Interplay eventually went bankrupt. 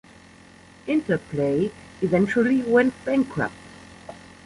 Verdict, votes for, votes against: accepted, 2, 0